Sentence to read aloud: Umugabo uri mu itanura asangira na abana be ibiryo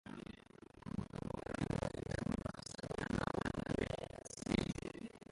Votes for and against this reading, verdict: 0, 2, rejected